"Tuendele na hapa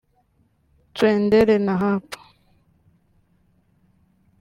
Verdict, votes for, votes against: rejected, 1, 2